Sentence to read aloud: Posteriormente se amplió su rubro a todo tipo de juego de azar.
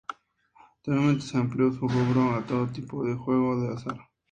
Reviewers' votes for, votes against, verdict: 0, 2, rejected